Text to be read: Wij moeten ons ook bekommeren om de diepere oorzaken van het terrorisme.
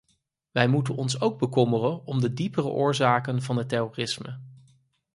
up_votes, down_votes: 4, 0